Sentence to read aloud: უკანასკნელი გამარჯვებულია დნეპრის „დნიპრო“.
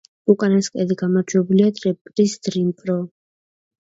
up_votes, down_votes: 1, 2